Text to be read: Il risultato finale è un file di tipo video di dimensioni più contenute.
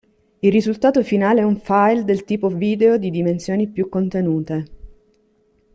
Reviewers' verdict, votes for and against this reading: rejected, 0, 2